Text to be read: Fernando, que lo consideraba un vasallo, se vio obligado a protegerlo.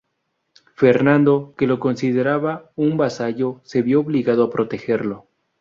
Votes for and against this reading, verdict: 0, 2, rejected